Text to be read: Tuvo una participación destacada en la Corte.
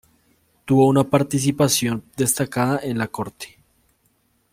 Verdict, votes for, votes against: accepted, 2, 1